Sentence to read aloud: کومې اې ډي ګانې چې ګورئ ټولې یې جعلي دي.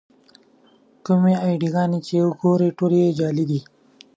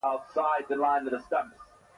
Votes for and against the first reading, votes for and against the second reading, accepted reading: 2, 0, 1, 2, first